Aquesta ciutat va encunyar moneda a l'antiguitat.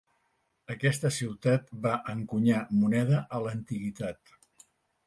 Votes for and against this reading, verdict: 2, 1, accepted